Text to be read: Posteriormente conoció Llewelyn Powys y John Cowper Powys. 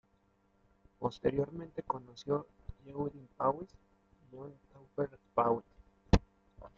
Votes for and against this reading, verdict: 1, 2, rejected